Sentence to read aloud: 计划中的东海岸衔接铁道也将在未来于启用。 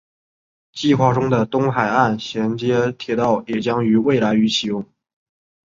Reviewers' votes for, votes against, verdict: 2, 0, accepted